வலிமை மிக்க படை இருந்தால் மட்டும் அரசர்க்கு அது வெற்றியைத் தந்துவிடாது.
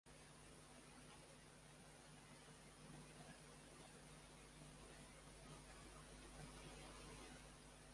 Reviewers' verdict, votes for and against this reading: rejected, 0, 2